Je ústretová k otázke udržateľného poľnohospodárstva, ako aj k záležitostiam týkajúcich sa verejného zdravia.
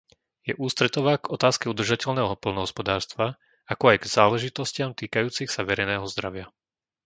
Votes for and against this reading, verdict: 2, 0, accepted